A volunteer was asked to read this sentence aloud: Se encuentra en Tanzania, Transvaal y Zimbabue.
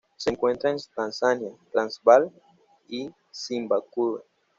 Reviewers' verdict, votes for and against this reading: rejected, 1, 2